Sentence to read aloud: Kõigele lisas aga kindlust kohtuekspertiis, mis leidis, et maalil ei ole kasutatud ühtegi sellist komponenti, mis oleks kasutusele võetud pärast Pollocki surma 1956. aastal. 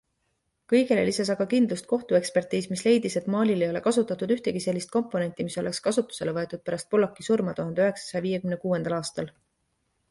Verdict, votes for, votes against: rejected, 0, 2